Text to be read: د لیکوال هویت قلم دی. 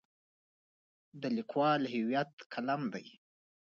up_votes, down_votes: 2, 3